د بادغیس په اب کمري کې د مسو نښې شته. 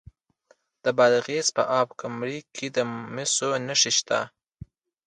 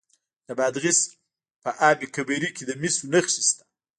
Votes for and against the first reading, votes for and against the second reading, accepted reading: 2, 0, 0, 2, first